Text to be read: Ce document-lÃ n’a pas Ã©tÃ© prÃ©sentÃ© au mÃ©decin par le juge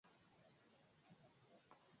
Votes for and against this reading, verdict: 0, 2, rejected